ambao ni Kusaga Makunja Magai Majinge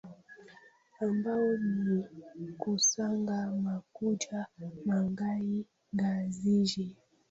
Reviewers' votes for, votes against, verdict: 0, 2, rejected